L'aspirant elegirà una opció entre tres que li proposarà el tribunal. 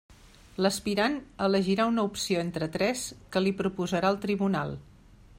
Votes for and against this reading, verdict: 3, 0, accepted